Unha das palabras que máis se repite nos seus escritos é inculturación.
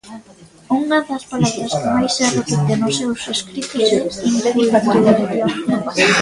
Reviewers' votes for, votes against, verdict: 0, 2, rejected